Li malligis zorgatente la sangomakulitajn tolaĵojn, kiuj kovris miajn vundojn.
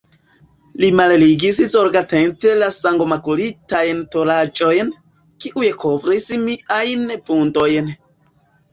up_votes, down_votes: 1, 2